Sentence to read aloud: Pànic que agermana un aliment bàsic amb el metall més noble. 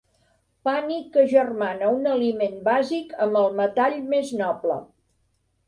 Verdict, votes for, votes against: accepted, 2, 0